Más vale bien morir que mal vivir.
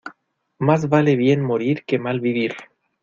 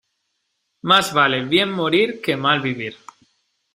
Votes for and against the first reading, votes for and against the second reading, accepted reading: 1, 2, 2, 0, second